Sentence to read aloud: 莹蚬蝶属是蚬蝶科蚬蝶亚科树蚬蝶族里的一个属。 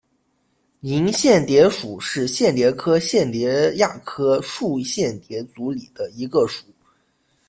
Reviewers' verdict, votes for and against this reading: accepted, 2, 1